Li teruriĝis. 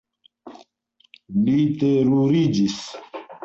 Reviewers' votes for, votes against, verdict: 2, 0, accepted